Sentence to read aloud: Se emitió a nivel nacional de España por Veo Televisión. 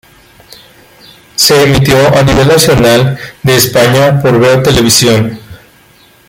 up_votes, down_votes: 2, 0